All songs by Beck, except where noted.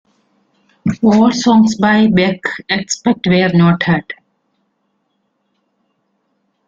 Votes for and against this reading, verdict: 2, 0, accepted